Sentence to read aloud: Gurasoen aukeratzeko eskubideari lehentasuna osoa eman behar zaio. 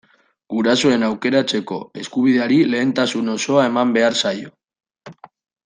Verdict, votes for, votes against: accepted, 2, 1